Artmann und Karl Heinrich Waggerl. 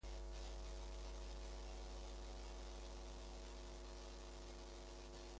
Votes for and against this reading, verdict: 0, 2, rejected